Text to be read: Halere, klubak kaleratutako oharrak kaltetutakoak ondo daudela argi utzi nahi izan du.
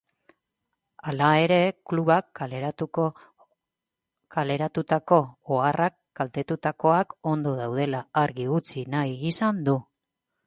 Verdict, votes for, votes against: rejected, 0, 2